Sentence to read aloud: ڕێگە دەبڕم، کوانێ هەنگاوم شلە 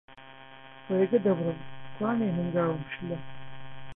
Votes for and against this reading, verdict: 0, 2, rejected